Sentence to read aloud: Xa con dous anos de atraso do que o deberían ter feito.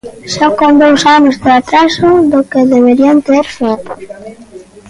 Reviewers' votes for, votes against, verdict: 1, 2, rejected